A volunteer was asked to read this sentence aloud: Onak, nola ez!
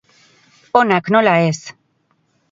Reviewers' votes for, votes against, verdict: 4, 0, accepted